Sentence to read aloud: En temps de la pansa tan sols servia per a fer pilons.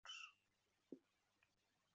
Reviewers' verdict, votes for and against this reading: rejected, 0, 2